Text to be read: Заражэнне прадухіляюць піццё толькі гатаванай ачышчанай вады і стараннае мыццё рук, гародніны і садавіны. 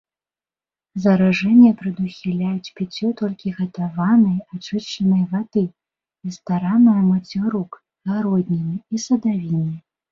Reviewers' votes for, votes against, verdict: 2, 0, accepted